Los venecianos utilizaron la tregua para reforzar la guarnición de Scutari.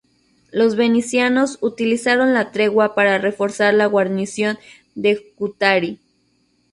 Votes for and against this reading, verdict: 0, 2, rejected